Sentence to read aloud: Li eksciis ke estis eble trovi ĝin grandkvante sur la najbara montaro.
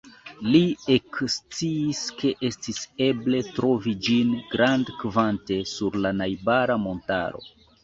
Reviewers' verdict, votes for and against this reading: accepted, 2, 0